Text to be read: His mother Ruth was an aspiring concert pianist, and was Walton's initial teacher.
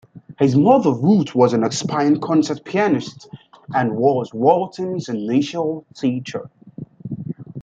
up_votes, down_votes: 2, 0